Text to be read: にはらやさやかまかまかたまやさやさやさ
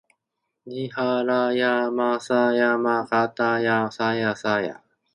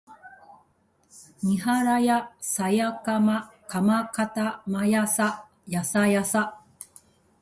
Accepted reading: second